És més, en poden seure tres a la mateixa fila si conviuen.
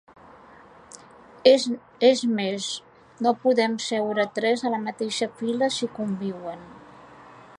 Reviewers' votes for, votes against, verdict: 0, 2, rejected